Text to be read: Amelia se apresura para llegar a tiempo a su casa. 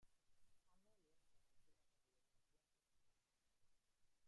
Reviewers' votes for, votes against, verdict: 0, 2, rejected